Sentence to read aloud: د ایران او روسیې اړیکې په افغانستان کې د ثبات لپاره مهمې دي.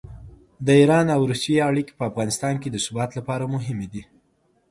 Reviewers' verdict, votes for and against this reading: accepted, 5, 0